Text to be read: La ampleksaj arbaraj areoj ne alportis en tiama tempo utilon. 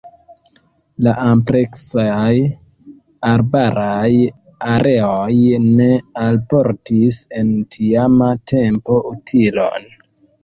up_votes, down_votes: 2, 1